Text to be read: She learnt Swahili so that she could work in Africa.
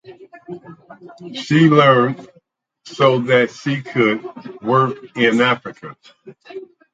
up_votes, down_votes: 0, 4